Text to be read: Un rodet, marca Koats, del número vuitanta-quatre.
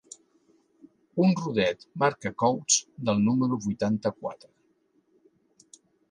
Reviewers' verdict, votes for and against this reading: accepted, 2, 1